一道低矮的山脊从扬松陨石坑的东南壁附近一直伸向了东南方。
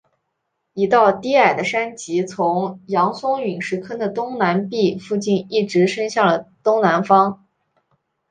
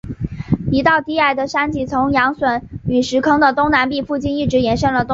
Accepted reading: first